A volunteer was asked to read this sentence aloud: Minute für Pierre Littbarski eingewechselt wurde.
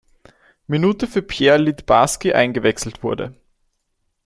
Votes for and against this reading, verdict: 2, 0, accepted